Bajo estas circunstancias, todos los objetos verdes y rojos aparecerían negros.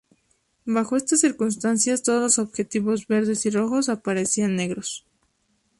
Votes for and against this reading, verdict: 0, 2, rejected